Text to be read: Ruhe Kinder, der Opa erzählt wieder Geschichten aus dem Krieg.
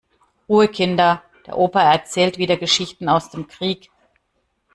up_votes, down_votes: 2, 0